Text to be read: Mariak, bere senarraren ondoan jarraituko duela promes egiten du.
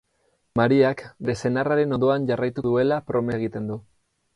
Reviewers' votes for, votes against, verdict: 0, 4, rejected